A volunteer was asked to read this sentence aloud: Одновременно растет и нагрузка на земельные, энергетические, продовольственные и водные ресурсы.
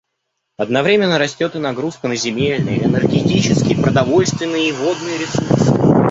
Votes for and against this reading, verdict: 1, 2, rejected